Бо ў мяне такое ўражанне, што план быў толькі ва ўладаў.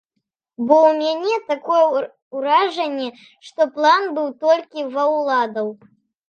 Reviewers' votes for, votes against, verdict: 1, 2, rejected